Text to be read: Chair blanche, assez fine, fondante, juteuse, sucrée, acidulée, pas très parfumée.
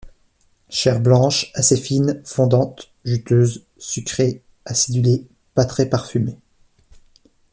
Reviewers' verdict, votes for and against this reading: accepted, 2, 0